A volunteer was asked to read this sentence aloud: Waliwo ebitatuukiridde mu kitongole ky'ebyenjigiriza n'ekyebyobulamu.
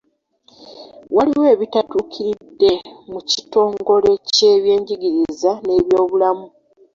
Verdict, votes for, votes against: rejected, 0, 2